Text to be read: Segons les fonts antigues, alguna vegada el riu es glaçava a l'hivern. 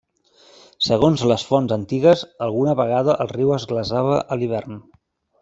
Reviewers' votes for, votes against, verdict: 1, 2, rejected